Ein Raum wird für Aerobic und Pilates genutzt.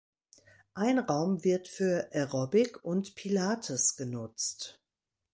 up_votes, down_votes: 2, 0